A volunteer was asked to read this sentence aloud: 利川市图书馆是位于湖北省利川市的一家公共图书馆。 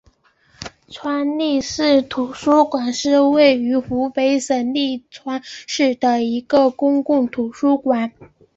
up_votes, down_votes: 2, 0